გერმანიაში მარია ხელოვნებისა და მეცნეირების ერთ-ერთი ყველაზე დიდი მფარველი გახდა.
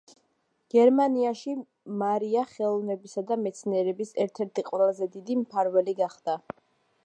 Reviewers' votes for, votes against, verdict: 1, 2, rejected